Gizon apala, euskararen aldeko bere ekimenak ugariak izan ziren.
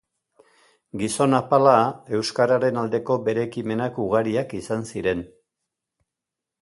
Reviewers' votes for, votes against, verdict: 1, 2, rejected